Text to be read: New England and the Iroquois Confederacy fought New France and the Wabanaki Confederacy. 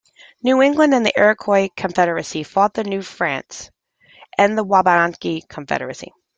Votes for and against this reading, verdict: 0, 2, rejected